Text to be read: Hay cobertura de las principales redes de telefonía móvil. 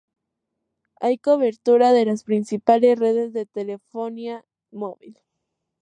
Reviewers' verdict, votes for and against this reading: accepted, 2, 0